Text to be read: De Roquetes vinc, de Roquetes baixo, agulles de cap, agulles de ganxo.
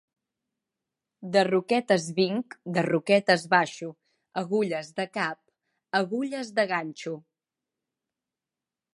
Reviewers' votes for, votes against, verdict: 2, 0, accepted